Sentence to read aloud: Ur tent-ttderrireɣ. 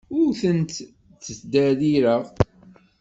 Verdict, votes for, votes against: rejected, 1, 2